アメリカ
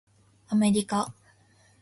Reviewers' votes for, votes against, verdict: 2, 0, accepted